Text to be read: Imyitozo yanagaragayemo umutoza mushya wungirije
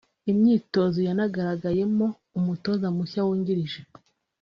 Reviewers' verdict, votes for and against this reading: accepted, 2, 0